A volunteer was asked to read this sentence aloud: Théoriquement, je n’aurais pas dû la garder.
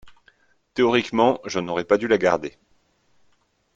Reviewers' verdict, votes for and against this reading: accepted, 2, 0